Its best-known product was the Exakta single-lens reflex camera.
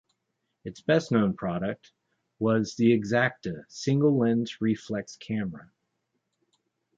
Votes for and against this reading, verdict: 2, 0, accepted